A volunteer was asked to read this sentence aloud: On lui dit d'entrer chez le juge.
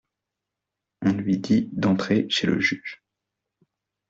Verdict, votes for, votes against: accepted, 2, 0